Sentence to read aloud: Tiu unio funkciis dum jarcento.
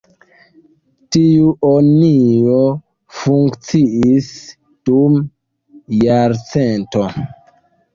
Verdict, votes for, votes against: rejected, 1, 2